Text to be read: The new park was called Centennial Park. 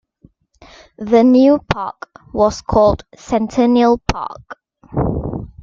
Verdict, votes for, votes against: accepted, 2, 1